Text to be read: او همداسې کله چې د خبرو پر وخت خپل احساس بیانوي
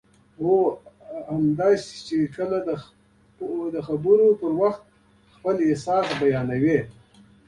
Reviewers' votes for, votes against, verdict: 0, 2, rejected